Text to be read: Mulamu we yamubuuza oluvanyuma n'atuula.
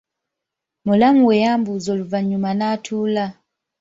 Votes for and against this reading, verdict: 2, 0, accepted